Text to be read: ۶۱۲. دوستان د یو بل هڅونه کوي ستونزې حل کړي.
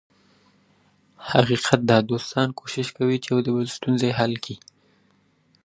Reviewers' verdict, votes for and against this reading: rejected, 0, 2